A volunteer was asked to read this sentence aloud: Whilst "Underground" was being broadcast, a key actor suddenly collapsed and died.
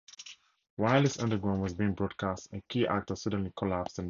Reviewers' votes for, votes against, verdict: 0, 4, rejected